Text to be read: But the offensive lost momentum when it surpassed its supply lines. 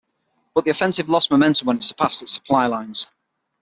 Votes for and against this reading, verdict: 6, 0, accepted